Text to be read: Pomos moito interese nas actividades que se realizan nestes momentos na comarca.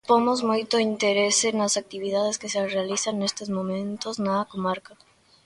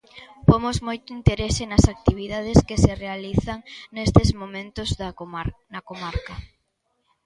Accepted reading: first